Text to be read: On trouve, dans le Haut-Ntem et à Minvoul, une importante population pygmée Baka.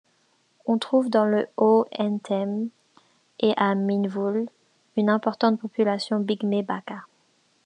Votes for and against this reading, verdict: 2, 1, accepted